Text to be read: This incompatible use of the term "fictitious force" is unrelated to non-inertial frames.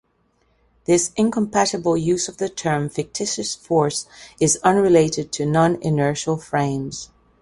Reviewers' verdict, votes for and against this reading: accepted, 2, 0